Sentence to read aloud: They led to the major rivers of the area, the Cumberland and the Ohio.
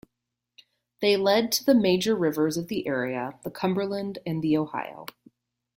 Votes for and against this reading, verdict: 2, 0, accepted